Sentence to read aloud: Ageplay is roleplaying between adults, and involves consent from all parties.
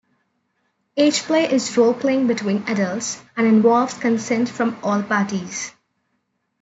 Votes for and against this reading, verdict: 2, 0, accepted